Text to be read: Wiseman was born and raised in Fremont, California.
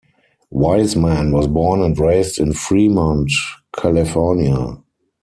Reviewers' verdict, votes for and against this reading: accepted, 4, 0